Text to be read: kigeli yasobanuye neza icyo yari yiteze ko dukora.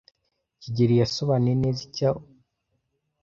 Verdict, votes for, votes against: rejected, 0, 2